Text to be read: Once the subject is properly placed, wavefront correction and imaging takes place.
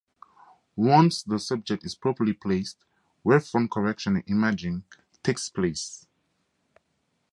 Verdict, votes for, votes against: accepted, 4, 0